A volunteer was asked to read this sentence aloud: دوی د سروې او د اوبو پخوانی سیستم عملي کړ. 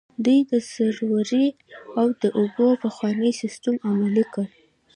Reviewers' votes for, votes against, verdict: 2, 0, accepted